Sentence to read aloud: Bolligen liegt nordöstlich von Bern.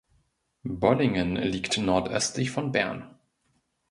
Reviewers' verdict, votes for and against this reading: rejected, 0, 2